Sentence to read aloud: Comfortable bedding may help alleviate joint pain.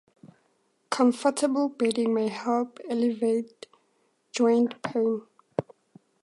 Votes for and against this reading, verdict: 4, 2, accepted